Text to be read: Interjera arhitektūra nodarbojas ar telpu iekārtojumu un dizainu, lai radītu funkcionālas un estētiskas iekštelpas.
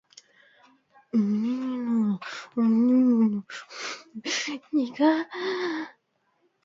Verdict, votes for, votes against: rejected, 0, 2